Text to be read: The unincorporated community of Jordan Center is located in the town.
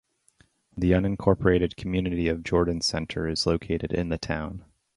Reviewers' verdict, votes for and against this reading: accepted, 4, 0